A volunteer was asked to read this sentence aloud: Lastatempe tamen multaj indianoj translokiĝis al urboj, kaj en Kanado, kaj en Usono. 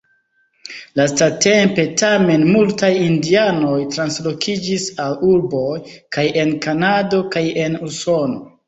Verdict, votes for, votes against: rejected, 0, 2